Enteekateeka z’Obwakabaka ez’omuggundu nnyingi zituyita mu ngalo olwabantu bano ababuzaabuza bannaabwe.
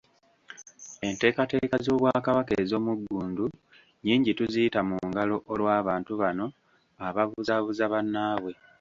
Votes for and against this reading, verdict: 1, 2, rejected